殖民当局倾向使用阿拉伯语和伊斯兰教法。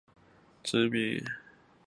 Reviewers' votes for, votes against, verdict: 0, 2, rejected